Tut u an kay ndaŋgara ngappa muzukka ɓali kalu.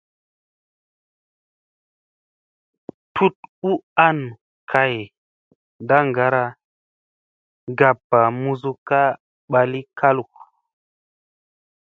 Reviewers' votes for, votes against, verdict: 2, 0, accepted